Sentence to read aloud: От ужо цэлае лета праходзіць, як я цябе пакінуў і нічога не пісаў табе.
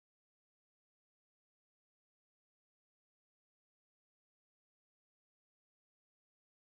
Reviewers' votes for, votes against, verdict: 0, 2, rejected